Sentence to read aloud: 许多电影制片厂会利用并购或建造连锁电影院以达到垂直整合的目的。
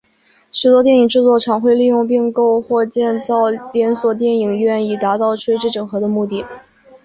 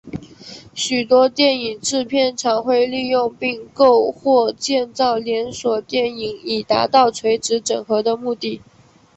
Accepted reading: first